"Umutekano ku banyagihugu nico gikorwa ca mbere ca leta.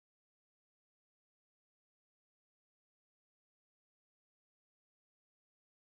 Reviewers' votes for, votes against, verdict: 0, 3, rejected